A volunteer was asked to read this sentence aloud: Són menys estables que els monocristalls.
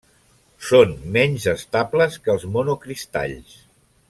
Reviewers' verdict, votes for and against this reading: accepted, 3, 0